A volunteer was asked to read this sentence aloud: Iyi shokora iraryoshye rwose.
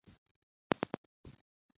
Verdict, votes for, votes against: rejected, 0, 2